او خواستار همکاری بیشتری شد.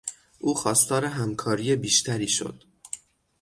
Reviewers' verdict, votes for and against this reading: accepted, 6, 0